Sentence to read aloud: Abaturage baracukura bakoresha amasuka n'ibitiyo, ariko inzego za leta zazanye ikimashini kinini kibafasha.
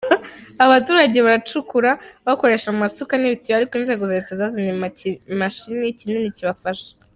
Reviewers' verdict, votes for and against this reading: rejected, 0, 2